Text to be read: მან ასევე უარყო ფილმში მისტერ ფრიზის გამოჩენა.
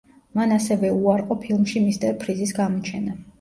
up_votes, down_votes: 2, 0